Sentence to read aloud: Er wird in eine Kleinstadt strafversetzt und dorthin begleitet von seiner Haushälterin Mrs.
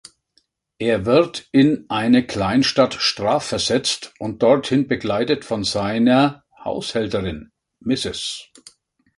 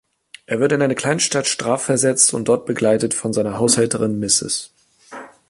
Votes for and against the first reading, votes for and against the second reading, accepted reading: 3, 0, 0, 2, first